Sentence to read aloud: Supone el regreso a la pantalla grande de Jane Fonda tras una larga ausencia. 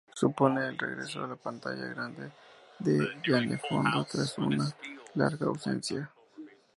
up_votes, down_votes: 0, 2